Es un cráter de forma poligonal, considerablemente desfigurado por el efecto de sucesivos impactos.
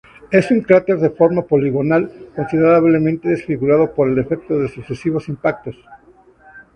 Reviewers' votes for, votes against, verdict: 2, 0, accepted